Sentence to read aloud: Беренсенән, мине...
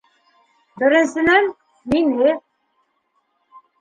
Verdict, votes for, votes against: rejected, 1, 2